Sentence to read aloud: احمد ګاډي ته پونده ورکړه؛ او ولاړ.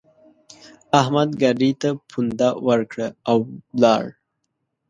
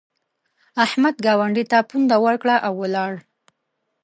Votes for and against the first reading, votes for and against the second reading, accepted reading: 2, 0, 1, 2, first